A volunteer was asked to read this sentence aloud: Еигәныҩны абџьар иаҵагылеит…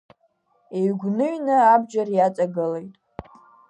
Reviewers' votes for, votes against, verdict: 2, 0, accepted